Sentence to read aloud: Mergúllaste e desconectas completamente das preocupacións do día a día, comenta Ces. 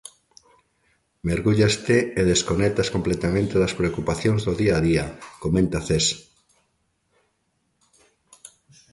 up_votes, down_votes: 2, 0